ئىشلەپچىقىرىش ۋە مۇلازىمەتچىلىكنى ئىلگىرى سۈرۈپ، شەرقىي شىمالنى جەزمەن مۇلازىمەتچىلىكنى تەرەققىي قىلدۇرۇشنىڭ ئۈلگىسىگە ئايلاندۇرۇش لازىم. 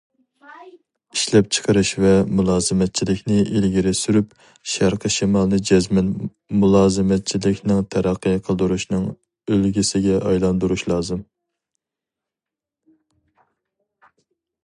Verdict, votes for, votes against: rejected, 0, 2